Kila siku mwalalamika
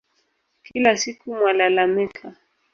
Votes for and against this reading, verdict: 2, 1, accepted